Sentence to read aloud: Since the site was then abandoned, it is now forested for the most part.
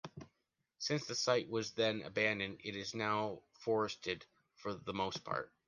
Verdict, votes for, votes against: accepted, 2, 0